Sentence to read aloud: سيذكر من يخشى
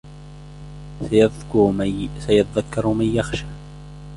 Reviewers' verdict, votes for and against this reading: rejected, 0, 2